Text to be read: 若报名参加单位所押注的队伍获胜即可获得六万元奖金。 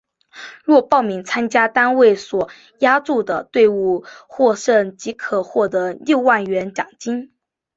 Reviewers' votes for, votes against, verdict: 3, 1, accepted